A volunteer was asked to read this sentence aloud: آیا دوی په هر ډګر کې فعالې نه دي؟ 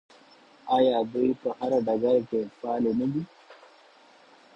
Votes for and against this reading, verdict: 0, 2, rejected